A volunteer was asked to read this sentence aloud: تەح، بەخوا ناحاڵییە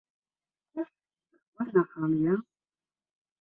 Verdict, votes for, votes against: rejected, 0, 2